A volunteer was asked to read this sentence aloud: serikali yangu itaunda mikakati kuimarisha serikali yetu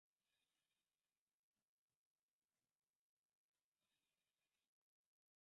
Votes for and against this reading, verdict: 1, 3, rejected